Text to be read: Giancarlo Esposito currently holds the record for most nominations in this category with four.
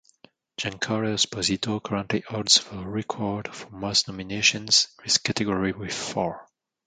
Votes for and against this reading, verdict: 1, 2, rejected